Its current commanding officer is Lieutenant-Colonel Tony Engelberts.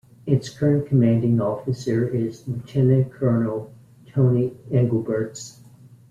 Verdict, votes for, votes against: accepted, 2, 1